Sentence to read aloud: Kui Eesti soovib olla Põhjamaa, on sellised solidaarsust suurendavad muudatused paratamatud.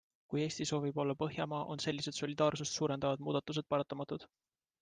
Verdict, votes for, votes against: accepted, 2, 0